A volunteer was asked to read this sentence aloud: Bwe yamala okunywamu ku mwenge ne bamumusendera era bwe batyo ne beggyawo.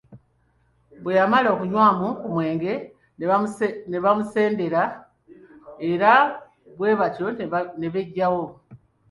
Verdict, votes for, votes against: accepted, 2, 1